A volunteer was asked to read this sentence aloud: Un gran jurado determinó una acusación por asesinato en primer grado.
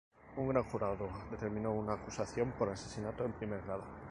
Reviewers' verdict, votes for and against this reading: accepted, 2, 0